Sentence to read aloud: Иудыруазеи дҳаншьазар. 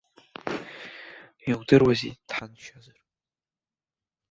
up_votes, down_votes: 1, 2